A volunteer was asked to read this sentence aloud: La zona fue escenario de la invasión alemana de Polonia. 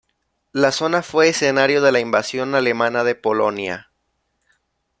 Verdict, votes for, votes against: accepted, 2, 0